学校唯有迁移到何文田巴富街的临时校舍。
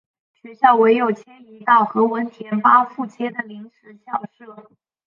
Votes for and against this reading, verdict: 2, 2, rejected